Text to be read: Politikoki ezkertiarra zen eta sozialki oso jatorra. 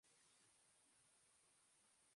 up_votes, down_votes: 0, 3